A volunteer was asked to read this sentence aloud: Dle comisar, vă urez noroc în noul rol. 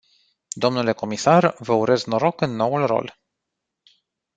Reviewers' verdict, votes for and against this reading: accepted, 2, 0